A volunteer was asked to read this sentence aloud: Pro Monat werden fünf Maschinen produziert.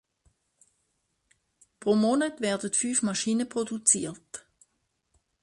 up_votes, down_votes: 2, 1